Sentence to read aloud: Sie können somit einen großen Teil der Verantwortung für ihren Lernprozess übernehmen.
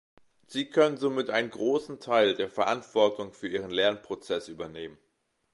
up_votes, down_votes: 2, 0